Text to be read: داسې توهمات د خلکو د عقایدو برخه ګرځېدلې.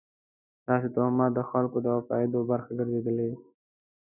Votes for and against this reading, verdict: 2, 0, accepted